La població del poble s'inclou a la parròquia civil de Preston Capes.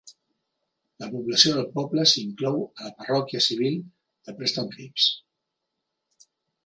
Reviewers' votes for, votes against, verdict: 1, 2, rejected